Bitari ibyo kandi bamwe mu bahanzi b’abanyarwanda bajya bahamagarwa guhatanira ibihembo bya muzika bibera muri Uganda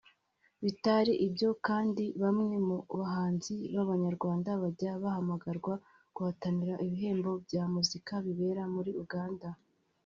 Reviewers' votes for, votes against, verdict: 2, 0, accepted